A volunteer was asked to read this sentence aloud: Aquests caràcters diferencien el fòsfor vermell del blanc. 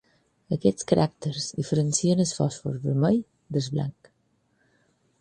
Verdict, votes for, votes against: rejected, 2, 4